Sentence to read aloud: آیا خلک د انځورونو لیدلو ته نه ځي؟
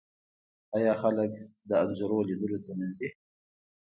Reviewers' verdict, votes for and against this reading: accepted, 2, 0